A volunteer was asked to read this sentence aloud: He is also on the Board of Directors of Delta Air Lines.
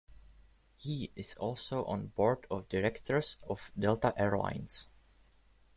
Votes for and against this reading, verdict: 1, 2, rejected